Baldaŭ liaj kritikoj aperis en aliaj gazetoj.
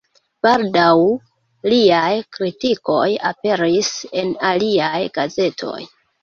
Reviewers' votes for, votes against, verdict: 1, 2, rejected